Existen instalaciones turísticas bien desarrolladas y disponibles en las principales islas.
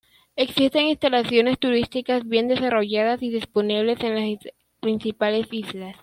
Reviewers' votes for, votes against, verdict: 1, 2, rejected